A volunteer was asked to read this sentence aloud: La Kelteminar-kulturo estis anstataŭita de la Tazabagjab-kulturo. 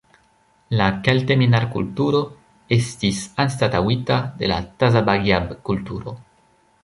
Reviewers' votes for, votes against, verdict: 2, 0, accepted